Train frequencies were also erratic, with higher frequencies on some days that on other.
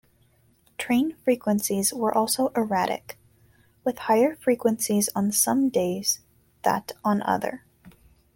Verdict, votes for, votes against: accepted, 2, 0